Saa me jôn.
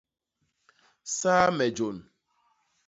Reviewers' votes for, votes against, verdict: 2, 0, accepted